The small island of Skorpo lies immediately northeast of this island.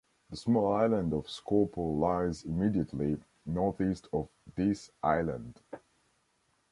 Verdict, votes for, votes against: accepted, 2, 0